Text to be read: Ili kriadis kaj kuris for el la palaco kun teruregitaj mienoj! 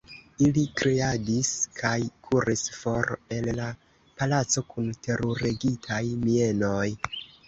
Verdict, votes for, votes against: rejected, 2, 3